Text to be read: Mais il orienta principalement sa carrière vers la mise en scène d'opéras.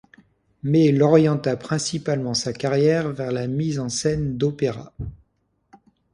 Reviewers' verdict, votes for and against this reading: accepted, 2, 0